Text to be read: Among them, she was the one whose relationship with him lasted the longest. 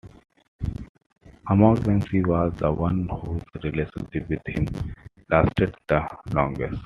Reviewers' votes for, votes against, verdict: 1, 2, rejected